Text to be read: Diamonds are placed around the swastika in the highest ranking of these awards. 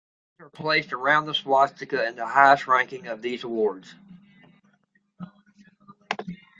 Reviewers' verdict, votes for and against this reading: rejected, 1, 2